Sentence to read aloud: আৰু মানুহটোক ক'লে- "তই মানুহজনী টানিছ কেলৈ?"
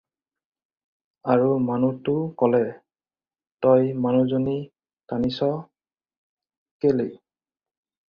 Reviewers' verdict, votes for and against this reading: rejected, 2, 4